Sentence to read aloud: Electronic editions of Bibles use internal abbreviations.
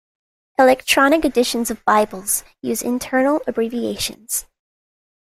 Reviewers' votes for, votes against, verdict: 2, 0, accepted